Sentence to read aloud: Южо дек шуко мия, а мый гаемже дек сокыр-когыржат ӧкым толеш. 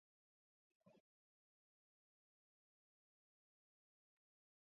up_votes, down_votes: 0, 2